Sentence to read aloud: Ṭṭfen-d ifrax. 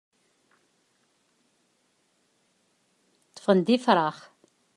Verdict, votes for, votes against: accepted, 2, 0